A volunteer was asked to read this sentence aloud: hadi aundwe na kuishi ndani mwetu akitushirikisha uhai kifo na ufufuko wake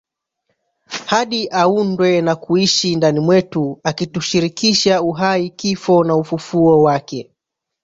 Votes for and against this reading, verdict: 0, 2, rejected